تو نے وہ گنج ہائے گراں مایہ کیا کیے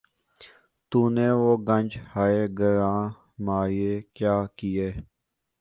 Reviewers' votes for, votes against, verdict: 0, 2, rejected